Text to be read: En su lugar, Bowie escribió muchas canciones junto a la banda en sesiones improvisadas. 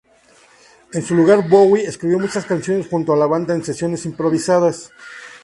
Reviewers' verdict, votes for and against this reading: accepted, 2, 0